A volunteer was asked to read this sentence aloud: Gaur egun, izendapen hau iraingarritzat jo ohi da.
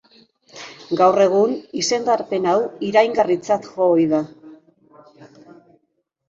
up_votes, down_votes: 1, 2